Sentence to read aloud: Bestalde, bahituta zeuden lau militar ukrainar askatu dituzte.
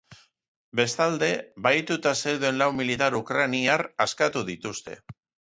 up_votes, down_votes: 2, 0